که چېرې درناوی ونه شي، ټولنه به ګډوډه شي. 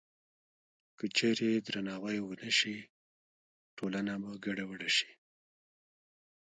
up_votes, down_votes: 0, 2